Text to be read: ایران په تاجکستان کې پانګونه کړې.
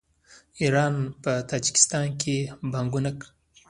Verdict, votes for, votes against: rejected, 1, 2